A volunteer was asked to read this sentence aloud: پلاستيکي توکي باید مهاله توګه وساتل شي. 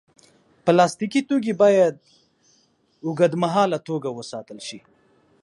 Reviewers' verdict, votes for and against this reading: rejected, 2, 4